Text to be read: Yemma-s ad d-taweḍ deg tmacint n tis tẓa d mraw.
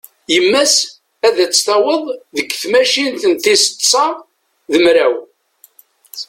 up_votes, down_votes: 1, 2